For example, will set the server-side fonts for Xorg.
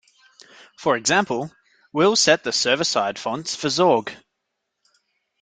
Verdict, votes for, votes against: rejected, 1, 2